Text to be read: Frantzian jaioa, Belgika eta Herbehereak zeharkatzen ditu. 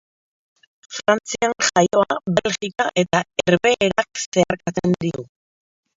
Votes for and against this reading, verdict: 0, 2, rejected